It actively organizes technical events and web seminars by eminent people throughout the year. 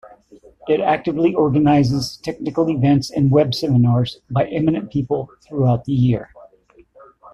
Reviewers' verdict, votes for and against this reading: accepted, 2, 0